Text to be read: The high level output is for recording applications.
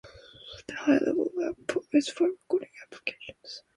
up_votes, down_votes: 2, 0